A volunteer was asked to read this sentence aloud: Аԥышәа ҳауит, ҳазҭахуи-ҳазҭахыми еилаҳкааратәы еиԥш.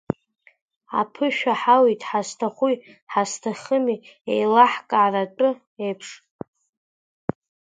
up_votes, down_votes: 1, 2